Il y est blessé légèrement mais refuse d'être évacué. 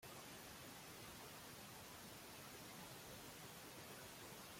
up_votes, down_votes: 0, 2